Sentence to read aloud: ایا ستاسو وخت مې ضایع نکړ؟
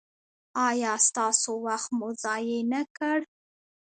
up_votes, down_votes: 2, 0